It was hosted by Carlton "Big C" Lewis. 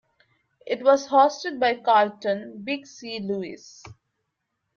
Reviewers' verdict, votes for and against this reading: accepted, 2, 0